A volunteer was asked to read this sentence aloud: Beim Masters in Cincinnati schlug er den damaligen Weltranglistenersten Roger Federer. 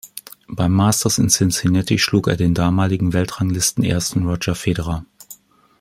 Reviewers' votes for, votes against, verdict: 2, 0, accepted